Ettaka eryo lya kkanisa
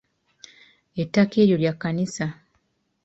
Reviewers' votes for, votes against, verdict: 2, 0, accepted